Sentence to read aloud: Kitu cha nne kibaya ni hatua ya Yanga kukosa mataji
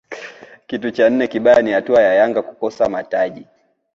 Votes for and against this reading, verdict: 0, 2, rejected